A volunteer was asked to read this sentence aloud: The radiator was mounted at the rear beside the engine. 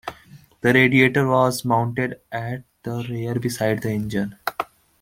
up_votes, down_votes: 2, 0